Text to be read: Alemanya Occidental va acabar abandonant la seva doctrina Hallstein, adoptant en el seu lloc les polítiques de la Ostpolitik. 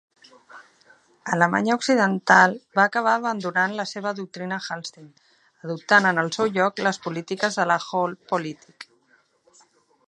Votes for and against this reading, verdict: 0, 2, rejected